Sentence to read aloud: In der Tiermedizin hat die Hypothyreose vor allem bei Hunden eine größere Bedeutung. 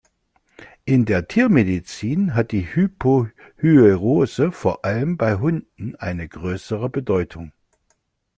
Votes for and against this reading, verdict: 2, 3, rejected